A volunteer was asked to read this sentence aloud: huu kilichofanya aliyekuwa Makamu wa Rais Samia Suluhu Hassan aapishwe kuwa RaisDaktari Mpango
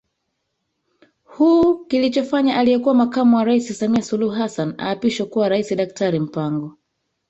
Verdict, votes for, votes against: rejected, 1, 2